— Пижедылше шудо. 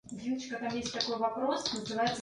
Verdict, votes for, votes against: rejected, 0, 2